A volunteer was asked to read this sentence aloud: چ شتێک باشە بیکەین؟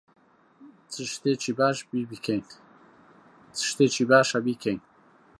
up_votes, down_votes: 0, 2